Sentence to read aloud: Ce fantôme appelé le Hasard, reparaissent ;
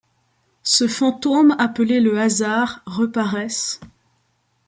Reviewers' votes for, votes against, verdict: 2, 0, accepted